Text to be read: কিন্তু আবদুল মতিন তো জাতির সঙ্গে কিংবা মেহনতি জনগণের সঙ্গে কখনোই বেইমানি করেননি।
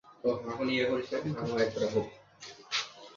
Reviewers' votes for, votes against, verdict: 0, 2, rejected